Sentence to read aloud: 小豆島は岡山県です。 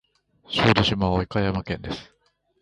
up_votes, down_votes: 0, 2